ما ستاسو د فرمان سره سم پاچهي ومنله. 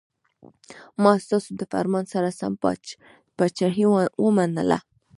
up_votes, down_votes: 0, 2